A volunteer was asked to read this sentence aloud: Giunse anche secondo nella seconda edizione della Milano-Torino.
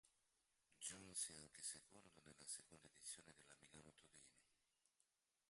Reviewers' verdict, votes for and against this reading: rejected, 0, 2